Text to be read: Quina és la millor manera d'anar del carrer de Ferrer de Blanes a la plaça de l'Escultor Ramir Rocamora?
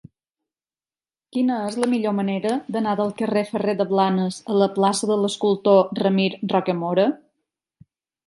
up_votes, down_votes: 1, 2